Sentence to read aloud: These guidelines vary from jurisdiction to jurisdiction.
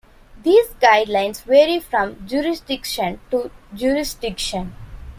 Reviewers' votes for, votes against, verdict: 2, 1, accepted